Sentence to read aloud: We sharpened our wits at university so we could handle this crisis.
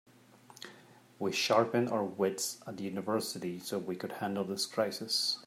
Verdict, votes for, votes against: accepted, 3, 0